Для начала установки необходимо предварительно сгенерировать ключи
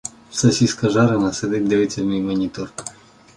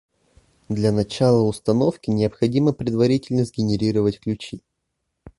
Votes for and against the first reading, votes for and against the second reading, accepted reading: 0, 2, 2, 0, second